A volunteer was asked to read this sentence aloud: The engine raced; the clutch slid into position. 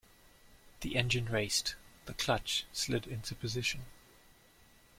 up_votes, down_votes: 2, 1